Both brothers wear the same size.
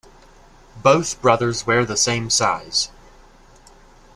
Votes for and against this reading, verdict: 2, 0, accepted